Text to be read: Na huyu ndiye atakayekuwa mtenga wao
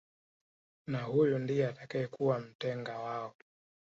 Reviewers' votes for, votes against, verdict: 0, 2, rejected